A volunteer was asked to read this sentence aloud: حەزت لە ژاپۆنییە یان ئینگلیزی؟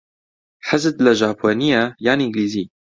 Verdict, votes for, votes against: accepted, 2, 0